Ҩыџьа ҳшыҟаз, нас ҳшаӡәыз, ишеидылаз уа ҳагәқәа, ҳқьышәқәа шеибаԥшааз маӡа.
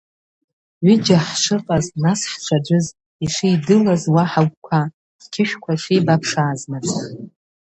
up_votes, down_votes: 1, 2